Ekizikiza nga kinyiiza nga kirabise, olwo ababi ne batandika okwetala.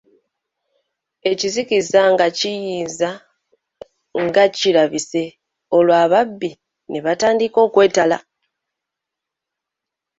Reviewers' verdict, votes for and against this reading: accepted, 2, 1